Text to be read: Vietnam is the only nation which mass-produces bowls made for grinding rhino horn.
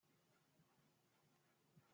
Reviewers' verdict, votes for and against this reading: rejected, 0, 2